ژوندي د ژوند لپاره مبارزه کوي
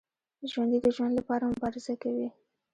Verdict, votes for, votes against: rejected, 1, 2